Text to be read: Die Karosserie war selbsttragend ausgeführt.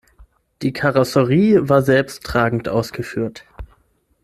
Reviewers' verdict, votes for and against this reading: accepted, 6, 0